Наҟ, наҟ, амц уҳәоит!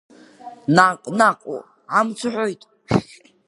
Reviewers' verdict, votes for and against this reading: rejected, 1, 2